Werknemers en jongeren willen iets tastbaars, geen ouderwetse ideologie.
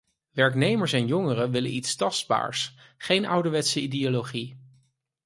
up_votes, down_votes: 4, 0